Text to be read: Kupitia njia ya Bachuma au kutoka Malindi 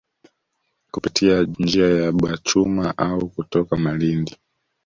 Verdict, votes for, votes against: accepted, 2, 1